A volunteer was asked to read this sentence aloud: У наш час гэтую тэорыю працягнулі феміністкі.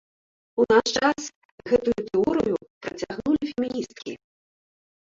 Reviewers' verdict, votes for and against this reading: accepted, 3, 2